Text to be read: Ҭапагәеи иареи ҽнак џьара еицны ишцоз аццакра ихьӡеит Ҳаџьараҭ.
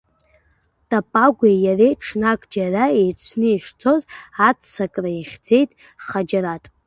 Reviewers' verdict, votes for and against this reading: rejected, 1, 2